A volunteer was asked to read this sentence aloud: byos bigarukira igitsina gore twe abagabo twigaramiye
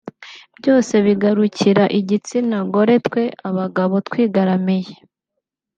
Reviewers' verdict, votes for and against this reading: rejected, 0, 2